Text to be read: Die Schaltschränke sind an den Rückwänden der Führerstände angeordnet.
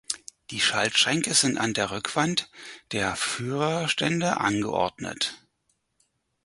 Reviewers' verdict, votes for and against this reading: rejected, 2, 4